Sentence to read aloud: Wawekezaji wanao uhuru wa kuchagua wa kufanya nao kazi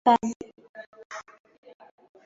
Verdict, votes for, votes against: rejected, 0, 2